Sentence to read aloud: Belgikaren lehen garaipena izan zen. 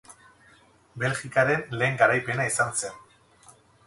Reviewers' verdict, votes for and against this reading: rejected, 2, 4